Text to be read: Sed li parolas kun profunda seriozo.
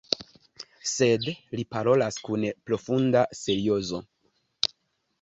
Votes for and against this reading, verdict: 2, 1, accepted